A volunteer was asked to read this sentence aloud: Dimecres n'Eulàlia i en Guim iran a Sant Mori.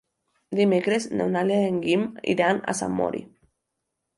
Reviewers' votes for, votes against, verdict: 2, 0, accepted